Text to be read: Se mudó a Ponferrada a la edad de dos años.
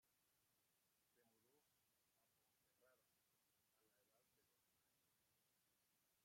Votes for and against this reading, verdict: 0, 2, rejected